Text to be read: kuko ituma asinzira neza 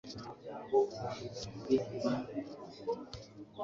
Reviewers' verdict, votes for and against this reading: rejected, 0, 2